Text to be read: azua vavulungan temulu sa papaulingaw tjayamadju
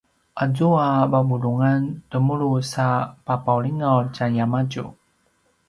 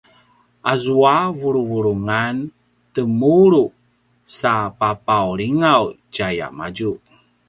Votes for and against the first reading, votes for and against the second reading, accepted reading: 2, 0, 0, 2, first